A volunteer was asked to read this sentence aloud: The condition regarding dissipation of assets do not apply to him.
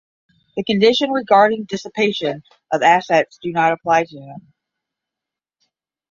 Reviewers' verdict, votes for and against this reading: accepted, 10, 5